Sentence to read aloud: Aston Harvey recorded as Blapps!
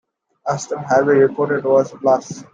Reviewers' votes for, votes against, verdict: 0, 2, rejected